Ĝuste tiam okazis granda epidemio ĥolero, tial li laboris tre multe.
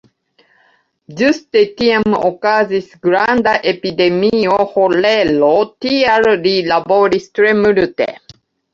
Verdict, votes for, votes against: rejected, 1, 2